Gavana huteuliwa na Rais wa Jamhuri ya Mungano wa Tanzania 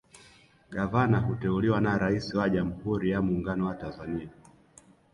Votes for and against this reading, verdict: 2, 0, accepted